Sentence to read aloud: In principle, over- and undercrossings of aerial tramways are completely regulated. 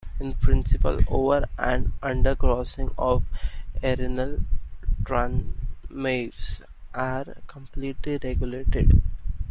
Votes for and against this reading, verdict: 0, 2, rejected